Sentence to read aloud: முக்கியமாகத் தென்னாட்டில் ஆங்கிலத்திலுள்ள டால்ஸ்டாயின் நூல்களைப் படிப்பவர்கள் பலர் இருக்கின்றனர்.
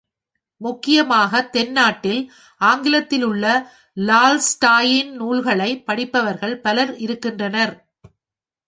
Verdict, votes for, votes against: rejected, 1, 2